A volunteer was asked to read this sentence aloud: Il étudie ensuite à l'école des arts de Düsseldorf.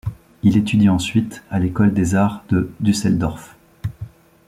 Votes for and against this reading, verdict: 2, 0, accepted